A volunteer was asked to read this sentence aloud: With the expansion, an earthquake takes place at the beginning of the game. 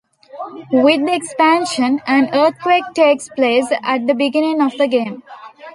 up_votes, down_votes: 1, 2